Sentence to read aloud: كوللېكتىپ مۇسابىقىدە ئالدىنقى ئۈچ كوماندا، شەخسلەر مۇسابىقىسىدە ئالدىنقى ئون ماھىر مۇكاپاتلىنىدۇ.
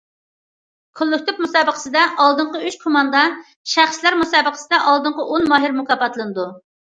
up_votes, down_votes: 0, 2